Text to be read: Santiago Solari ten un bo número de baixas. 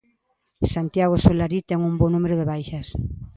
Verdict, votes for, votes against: rejected, 1, 2